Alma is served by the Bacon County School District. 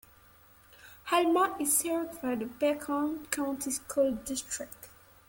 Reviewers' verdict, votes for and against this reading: accepted, 2, 1